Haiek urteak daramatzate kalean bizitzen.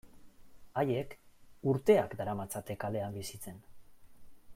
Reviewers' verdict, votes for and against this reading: accepted, 2, 0